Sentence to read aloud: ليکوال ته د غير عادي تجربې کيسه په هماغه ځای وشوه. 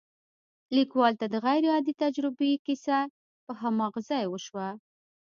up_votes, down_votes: 2, 0